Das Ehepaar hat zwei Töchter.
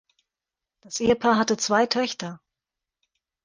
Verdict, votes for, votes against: rejected, 0, 2